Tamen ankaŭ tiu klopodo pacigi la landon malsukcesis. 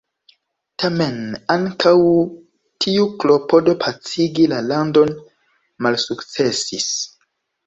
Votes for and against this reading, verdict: 0, 2, rejected